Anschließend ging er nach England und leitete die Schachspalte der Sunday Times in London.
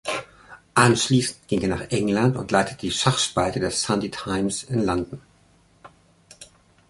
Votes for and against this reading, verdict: 1, 2, rejected